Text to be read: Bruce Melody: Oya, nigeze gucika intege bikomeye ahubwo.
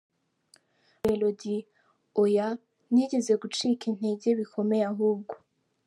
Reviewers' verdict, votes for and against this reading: accepted, 2, 1